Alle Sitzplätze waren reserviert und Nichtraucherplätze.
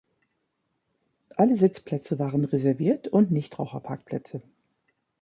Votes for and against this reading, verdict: 0, 2, rejected